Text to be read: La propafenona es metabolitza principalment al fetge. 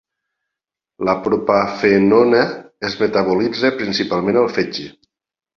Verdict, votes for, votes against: accepted, 2, 1